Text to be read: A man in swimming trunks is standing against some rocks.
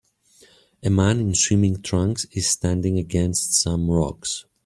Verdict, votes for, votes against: accepted, 2, 1